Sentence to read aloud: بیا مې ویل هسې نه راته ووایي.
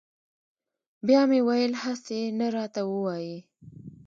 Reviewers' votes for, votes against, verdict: 1, 2, rejected